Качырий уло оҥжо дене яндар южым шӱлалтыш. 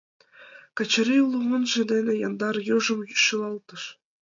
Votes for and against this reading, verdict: 1, 2, rejected